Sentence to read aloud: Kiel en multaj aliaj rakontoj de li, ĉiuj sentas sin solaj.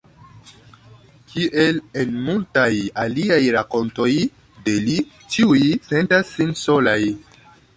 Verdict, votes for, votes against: accepted, 2, 1